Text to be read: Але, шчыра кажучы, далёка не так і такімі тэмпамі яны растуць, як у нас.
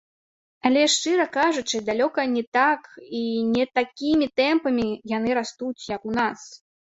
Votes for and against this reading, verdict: 1, 2, rejected